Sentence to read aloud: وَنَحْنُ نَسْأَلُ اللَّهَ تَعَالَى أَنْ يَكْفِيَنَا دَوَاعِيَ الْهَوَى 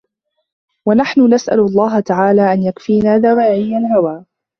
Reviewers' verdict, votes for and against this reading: rejected, 1, 2